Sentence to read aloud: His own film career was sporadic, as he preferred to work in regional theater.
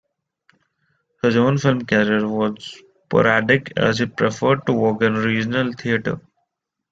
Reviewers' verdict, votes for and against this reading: rejected, 1, 2